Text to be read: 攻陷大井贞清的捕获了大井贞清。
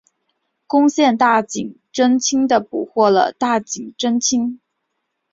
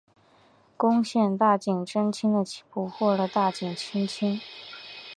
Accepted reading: first